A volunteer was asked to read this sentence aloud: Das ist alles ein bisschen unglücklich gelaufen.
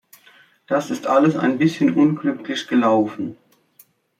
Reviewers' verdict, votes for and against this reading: accepted, 2, 0